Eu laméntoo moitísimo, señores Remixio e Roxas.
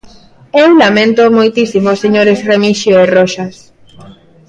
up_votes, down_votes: 2, 1